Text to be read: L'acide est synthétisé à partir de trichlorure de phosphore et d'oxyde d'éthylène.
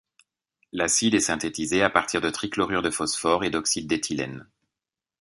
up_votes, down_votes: 2, 0